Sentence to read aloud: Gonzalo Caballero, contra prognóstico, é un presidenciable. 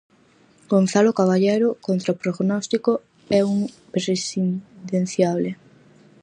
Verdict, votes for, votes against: rejected, 0, 4